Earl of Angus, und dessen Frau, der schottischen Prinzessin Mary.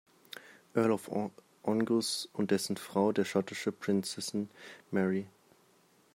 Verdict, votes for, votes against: rejected, 0, 2